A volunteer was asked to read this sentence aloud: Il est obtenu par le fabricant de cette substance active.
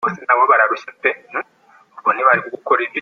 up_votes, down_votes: 0, 2